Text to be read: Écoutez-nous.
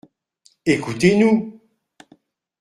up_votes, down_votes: 1, 2